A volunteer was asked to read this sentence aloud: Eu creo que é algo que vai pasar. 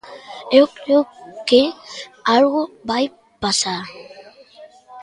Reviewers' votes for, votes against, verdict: 0, 2, rejected